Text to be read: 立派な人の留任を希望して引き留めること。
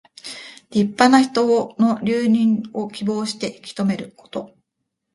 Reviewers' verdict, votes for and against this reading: rejected, 0, 2